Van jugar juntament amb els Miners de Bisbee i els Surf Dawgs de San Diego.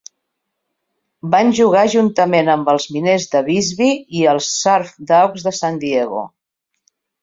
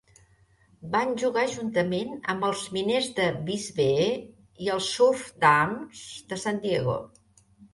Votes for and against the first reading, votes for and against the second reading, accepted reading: 2, 0, 0, 2, first